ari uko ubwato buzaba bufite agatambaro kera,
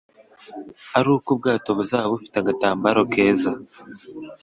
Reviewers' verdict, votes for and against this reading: rejected, 1, 2